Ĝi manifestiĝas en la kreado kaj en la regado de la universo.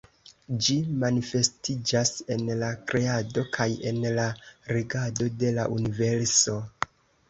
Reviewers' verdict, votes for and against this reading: accepted, 2, 0